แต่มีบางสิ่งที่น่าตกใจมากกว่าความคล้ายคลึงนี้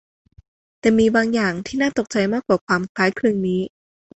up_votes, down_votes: 1, 2